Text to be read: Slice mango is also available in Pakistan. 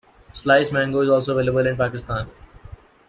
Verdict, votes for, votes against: accepted, 2, 0